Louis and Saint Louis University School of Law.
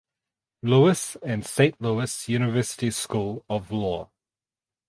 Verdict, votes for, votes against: rejected, 2, 2